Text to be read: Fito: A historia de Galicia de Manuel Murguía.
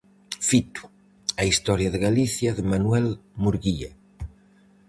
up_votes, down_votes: 4, 0